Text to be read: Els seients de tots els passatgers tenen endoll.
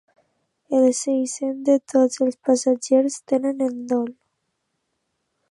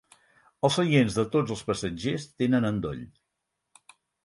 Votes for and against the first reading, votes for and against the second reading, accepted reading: 1, 2, 6, 0, second